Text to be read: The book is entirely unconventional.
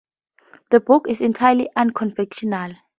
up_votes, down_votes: 2, 2